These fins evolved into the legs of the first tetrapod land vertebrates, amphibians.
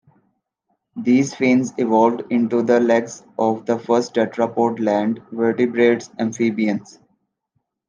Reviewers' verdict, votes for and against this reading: accepted, 2, 1